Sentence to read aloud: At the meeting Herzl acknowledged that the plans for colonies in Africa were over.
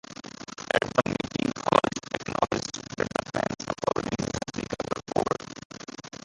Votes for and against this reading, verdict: 0, 2, rejected